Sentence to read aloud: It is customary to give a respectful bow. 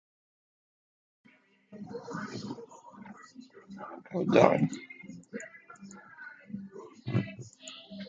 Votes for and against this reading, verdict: 0, 2, rejected